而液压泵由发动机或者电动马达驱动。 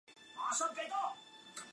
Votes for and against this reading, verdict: 0, 2, rejected